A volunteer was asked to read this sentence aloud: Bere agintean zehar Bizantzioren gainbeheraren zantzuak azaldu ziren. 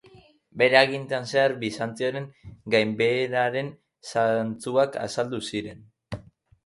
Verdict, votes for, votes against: rejected, 1, 2